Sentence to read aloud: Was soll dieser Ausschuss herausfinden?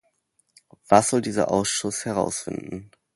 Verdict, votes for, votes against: accepted, 2, 0